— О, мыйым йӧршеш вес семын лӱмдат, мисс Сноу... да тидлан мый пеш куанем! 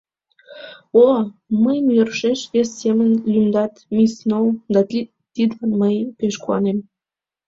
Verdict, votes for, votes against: rejected, 0, 2